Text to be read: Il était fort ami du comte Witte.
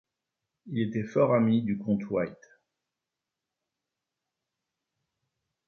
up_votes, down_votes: 1, 2